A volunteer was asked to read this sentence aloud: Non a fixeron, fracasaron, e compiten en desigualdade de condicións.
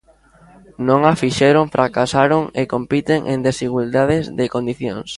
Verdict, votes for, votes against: rejected, 0, 2